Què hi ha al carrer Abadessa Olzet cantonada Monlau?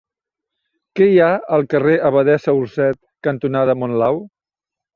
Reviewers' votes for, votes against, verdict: 1, 2, rejected